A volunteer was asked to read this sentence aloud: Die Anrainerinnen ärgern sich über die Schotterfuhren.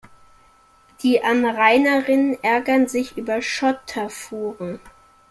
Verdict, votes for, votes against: rejected, 0, 2